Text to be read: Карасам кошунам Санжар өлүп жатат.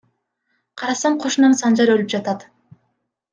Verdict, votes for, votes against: accepted, 2, 0